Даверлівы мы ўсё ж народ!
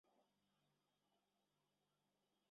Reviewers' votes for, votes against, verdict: 0, 2, rejected